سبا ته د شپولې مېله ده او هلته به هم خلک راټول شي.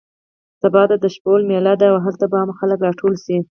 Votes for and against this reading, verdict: 0, 4, rejected